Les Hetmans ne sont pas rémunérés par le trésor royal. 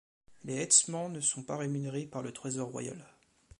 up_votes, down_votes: 1, 2